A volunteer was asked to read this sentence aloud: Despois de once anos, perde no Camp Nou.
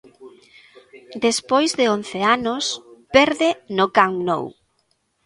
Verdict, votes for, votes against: accepted, 2, 0